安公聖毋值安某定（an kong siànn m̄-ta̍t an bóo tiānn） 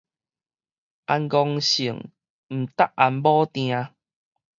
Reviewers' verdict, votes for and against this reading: rejected, 2, 2